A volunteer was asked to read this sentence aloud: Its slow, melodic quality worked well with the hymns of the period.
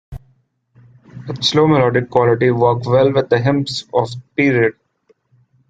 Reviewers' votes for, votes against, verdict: 0, 2, rejected